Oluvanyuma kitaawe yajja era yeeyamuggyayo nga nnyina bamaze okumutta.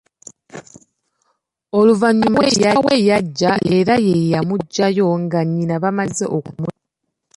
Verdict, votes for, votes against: rejected, 1, 2